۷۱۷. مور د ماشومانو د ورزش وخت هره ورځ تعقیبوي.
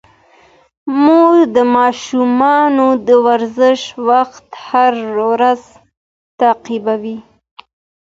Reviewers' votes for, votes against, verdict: 0, 2, rejected